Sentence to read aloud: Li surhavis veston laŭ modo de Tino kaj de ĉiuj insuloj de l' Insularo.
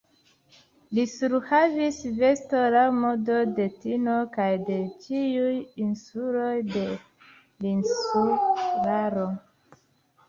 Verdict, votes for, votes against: accepted, 2, 0